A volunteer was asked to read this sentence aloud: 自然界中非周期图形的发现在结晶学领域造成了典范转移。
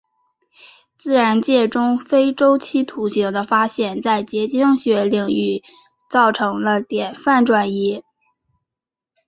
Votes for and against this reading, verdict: 1, 2, rejected